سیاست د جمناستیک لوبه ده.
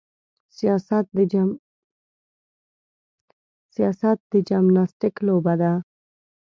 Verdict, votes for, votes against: rejected, 1, 2